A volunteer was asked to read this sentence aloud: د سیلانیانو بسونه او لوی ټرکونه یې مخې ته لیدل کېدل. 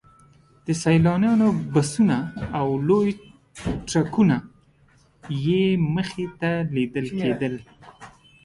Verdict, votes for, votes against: accepted, 2, 1